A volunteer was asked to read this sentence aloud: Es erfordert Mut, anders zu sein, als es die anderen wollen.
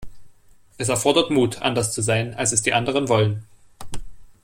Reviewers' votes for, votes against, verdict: 2, 0, accepted